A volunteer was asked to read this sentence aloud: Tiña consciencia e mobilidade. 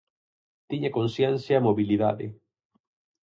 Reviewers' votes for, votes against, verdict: 4, 0, accepted